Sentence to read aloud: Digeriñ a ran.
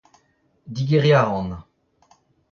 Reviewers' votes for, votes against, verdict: 0, 2, rejected